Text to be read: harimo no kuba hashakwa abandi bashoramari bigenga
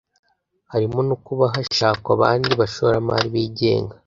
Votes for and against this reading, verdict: 2, 0, accepted